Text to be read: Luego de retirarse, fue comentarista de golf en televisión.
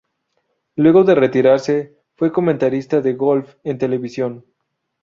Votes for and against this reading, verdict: 2, 0, accepted